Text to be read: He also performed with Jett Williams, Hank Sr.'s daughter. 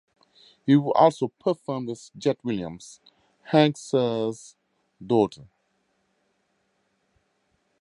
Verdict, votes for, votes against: accepted, 2, 0